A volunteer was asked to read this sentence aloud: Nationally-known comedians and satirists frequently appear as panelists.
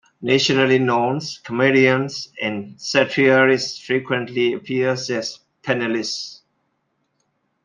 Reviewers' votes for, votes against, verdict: 1, 2, rejected